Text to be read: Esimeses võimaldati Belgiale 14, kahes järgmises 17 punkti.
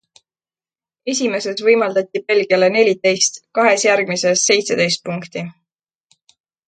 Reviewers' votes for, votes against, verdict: 0, 2, rejected